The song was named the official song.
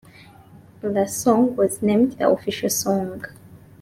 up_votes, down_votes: 2, 1